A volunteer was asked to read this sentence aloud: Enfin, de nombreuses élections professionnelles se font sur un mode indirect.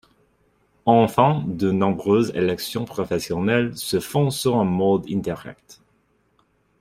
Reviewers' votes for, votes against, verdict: 0, 2, rejected